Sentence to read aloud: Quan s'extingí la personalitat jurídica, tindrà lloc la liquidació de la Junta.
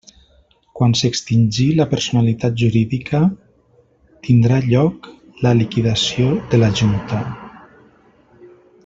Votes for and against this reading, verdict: 1, 2, rejected